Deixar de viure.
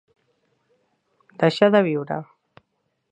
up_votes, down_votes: 3, 0